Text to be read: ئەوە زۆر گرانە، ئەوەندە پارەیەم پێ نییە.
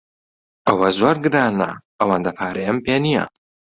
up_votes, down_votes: 2, 0